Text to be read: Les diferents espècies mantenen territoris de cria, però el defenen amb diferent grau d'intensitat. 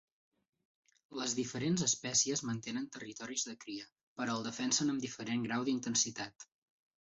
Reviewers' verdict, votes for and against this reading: accepted, 4, 2